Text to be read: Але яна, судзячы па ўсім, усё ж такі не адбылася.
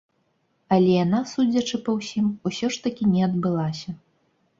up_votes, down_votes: 3, 0